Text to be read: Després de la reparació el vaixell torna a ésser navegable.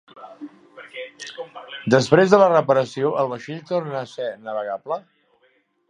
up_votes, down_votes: 0, 2